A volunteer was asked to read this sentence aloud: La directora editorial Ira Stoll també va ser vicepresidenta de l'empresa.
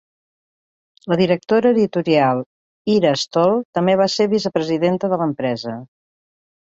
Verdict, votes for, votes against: accepted, 3, 0